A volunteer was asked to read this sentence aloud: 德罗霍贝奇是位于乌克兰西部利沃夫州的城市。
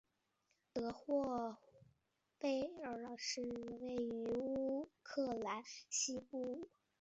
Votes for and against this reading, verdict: 0, 2, rejected